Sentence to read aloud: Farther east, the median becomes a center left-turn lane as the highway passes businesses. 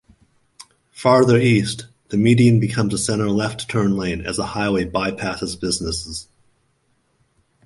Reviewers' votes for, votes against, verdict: 1, 3, rejected